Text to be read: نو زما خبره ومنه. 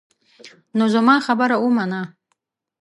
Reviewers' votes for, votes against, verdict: 2, 0, accepted